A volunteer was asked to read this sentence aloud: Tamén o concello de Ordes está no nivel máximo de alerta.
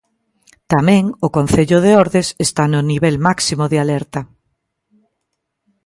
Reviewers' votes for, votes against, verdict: 2, 0, accepted